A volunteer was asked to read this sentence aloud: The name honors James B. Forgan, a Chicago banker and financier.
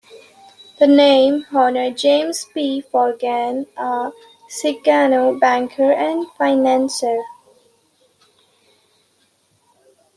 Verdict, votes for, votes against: rejected, 0, 2